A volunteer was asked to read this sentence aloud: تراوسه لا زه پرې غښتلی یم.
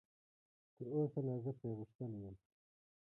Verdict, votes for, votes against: accepted, 2, 1